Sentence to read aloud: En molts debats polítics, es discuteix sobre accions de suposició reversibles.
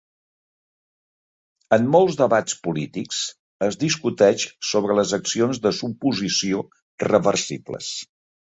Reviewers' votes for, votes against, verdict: 0, 2, rejected